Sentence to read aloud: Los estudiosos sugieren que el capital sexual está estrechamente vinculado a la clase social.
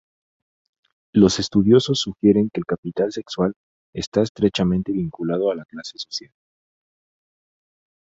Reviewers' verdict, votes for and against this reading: accepted, 2, 0